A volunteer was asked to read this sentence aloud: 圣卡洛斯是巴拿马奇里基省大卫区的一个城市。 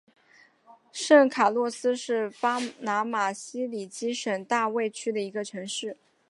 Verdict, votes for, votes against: accepted, 2, 1